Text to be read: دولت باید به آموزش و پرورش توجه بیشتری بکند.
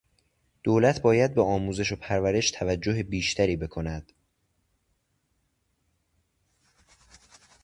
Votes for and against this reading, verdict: 2, 0, accepted